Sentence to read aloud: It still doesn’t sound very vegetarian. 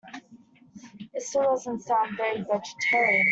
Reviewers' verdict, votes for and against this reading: rejected, 1, 2